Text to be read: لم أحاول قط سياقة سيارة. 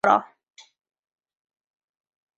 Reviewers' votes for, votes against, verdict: 0, 2, rejected